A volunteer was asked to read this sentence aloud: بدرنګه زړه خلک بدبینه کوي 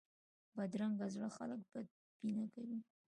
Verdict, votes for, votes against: accepted, 2, 1